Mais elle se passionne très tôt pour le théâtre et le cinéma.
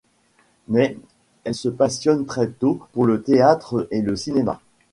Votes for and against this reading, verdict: 2, 0, accepted